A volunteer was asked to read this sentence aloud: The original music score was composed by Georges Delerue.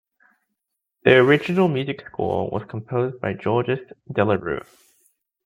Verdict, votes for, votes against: rejected, 0, 2